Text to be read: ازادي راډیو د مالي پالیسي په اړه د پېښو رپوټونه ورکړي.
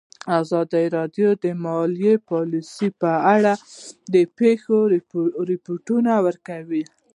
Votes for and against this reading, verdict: 0, 2, rejected